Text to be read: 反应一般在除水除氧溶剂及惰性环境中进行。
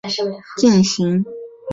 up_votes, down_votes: 0, 2